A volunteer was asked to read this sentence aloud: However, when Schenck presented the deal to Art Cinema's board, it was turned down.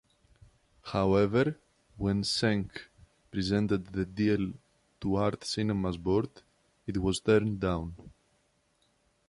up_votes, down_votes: 1, 2